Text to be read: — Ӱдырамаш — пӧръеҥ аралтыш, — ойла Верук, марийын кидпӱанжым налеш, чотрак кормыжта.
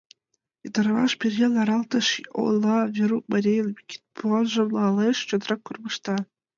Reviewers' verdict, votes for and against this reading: rejected, 0, 2